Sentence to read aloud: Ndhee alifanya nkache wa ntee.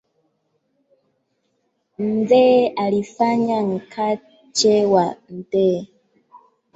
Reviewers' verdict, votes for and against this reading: accepted, 2, 0